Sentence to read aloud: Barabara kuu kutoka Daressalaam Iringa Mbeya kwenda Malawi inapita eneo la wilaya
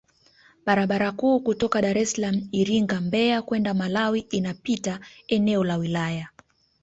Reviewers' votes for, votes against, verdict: 2, 0, accepted